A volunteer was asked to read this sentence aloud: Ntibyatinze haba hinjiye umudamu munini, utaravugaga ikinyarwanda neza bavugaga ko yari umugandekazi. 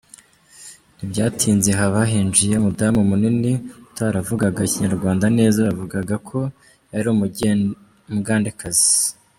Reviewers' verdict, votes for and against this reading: rejected, 0, 3